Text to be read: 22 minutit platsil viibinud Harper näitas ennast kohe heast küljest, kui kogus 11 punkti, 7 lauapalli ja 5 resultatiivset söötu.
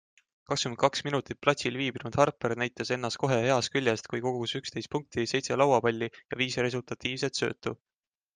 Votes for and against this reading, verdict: 0, 2, rejected